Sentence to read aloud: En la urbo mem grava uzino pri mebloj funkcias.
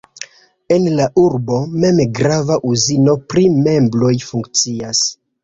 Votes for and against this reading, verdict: 1, 2, rejected